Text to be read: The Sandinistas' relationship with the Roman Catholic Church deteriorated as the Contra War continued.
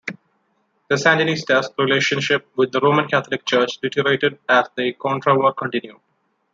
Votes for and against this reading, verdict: 2, 0, accepted